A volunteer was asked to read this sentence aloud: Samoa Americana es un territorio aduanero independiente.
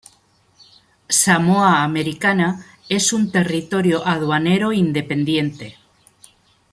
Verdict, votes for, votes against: accepted, 2, 0